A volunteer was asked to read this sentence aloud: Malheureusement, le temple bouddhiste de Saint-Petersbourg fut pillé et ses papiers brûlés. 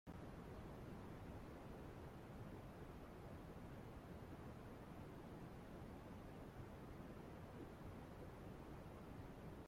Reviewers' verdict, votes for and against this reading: rejected, 0, 2